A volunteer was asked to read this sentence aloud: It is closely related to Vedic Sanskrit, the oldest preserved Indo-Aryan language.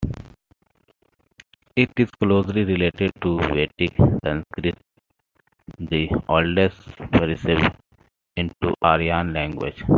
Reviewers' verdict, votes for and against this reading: accepted, 2, 0